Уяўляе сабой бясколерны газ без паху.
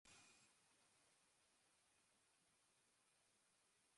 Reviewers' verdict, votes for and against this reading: rejected, 0, 2